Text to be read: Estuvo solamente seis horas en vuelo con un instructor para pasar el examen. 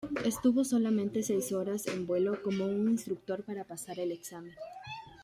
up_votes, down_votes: 2, 0